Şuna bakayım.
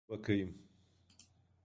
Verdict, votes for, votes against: rejected, 0, 2